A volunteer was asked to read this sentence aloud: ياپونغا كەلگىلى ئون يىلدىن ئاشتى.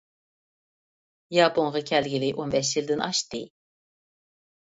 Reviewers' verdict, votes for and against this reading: rejected, 0, 2